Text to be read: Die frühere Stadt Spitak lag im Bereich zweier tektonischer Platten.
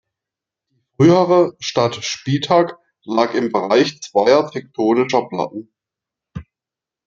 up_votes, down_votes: 0, 2